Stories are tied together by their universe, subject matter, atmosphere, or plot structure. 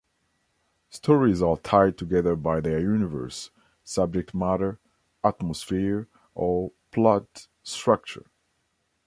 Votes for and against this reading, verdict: 2, 0, accepted